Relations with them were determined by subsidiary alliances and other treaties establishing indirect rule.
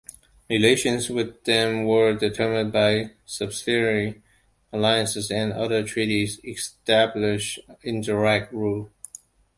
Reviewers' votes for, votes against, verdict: 0, 2, rejected